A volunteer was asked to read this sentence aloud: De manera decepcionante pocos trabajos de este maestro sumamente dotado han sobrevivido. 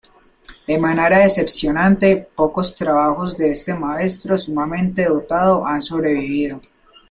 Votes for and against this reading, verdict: 2, 1, accepted